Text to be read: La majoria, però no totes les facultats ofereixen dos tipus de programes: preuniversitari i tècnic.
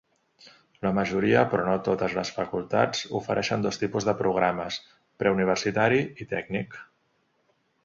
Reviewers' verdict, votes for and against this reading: accepted, 2, 0